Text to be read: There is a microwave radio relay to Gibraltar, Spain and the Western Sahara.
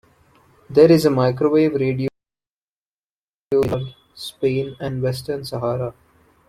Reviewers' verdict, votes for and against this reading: rejected, 0, 2